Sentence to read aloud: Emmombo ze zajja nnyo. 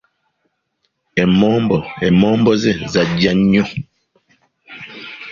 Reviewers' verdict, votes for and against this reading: accepted, 2, 0